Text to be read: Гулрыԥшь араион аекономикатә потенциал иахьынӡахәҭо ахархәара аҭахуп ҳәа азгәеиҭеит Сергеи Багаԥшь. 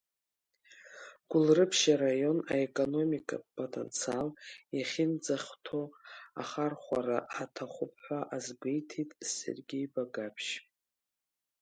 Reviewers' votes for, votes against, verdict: 2, 0, accepted